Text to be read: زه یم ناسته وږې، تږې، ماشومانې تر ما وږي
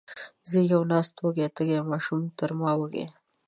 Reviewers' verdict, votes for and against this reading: rejected, 0, 2